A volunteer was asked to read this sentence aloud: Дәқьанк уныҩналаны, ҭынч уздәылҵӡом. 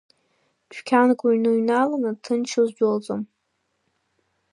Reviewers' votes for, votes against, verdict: 1, 3, rejected